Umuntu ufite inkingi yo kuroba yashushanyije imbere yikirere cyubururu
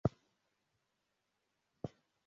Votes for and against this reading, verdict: 0, 2, rejected